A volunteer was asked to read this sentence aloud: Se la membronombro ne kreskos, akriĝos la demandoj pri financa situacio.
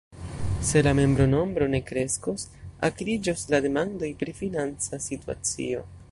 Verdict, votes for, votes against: accepted, 2, 0